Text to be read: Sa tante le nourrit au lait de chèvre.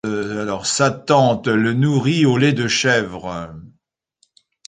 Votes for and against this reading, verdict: 0, 2, rejected